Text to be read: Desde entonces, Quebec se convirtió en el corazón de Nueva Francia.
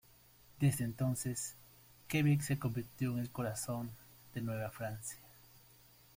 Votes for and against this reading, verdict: 2, 0, accepted